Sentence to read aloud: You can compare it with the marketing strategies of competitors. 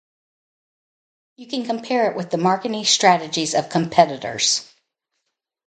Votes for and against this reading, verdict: 2, 0, accepted